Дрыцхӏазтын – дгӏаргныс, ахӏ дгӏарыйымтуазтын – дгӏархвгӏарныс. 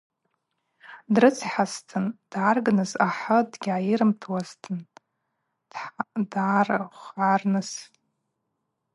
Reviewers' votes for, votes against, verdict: 0, 4, rejected